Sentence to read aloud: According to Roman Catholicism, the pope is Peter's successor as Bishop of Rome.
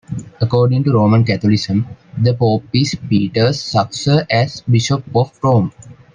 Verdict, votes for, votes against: rejected, 0, 2